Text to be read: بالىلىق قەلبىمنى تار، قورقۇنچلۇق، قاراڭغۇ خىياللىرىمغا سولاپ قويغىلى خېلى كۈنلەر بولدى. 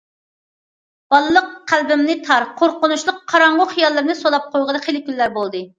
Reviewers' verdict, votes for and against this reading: rejected, 1, 2